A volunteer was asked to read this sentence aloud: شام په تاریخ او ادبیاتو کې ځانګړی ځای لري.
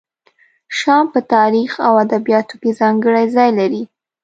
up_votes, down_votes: 2, 0